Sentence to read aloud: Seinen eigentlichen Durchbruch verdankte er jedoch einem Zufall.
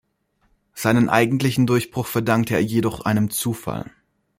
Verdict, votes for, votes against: accepted, 2, 0